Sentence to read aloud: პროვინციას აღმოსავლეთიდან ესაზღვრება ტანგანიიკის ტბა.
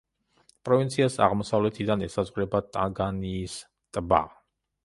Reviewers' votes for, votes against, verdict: 0, 2, rejected